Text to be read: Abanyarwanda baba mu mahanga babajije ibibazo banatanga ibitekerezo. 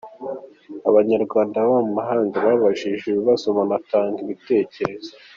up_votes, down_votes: 2, 0